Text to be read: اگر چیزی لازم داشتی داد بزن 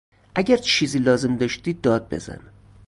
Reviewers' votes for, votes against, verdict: 0, 4, rejected